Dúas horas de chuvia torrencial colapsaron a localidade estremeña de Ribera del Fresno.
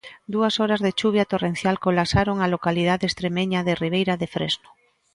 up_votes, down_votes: 0, 2